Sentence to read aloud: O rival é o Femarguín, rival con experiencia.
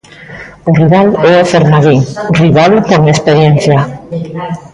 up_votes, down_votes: 1, 2